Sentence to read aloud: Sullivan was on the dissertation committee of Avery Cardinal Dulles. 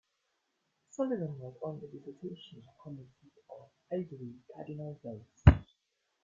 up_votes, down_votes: 0, 2